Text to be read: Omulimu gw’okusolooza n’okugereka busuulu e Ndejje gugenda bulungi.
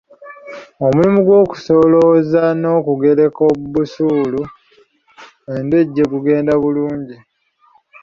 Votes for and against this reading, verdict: 1, 2, rejected